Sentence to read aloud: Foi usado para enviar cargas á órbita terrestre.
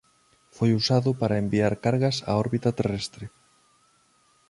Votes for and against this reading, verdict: 2, 0, accepted